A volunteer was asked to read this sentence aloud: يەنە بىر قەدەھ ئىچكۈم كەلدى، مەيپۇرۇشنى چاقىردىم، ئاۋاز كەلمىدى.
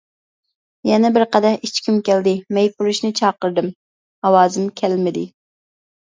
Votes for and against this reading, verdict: 0, 2, rejected